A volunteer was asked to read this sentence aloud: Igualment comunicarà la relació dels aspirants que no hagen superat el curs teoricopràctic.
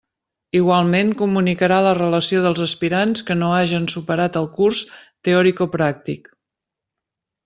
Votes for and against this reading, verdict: 2, 0, accepted